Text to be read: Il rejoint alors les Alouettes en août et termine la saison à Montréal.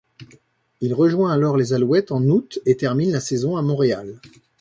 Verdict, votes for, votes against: accepted, 2, 0